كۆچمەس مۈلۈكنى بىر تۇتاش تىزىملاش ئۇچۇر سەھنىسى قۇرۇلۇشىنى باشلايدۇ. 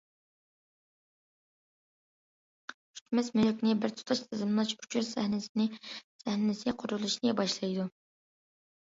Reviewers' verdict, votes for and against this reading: rejected, 0, 2